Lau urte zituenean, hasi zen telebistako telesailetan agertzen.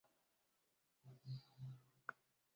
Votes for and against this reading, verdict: 0, 3, rejected